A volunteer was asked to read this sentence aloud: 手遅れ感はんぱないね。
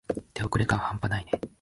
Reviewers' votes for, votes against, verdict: 3, 0, accepted